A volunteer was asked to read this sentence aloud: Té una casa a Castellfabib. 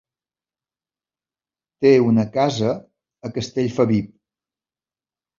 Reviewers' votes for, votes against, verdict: 2, 0, accepted